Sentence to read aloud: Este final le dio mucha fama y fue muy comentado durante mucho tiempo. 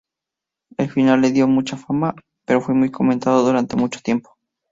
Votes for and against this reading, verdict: 0, 2, rejected